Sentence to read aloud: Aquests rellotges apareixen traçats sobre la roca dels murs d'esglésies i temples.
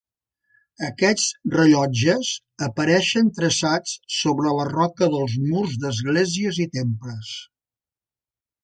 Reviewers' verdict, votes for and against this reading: accepted, 4, 0